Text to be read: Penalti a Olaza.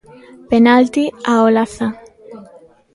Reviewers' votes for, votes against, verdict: 2, 1, accepted